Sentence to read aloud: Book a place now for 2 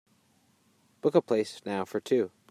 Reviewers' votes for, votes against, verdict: 0, 2, rejected